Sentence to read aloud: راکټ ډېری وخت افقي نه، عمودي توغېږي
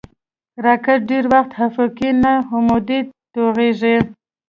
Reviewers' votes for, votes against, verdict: 2, 0, accepted